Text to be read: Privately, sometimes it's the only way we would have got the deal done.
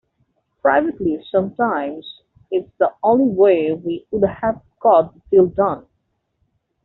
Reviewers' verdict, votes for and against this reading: rejected, 1, 2